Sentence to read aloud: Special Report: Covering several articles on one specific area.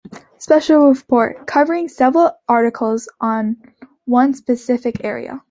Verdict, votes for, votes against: accepted, 2, 0